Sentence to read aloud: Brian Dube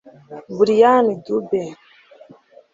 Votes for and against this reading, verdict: 1, 2, rejected